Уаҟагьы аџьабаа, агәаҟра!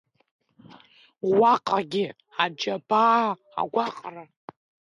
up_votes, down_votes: 0, 2